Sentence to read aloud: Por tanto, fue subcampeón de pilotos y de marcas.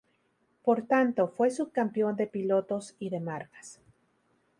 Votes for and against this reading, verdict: 2, 0, accepted